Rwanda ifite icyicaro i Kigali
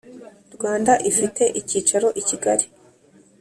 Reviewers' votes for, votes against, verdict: 3, 0, accepted